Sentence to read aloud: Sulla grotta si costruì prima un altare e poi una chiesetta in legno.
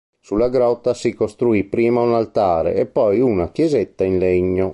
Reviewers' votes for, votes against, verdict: 2, 0, accepted